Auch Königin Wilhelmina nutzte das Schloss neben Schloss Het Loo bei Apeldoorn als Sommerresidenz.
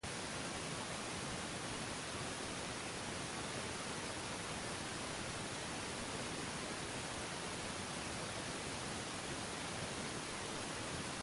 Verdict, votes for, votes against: rejected, 0, 2